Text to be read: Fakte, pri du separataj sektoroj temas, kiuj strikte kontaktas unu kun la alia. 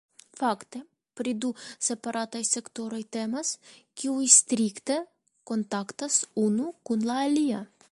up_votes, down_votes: 2, 0